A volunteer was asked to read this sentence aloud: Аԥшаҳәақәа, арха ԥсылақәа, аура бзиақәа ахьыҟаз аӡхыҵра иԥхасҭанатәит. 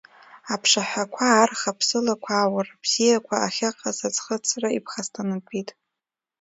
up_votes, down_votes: 0, 2